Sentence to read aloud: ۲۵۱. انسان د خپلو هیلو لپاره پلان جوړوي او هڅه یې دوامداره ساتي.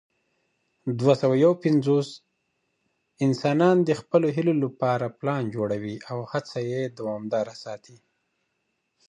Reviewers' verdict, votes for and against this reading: rejected, 0, 2